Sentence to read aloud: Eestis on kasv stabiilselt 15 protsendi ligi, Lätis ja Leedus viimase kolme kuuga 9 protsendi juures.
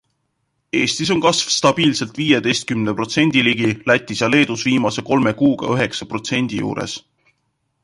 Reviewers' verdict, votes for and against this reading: rejected, 0, 2